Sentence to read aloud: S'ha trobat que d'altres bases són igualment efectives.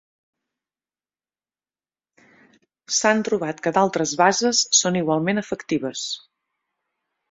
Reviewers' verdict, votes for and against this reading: rejected, 1, 2